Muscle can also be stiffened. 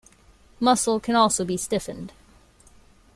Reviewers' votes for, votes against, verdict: 2, 0, accepted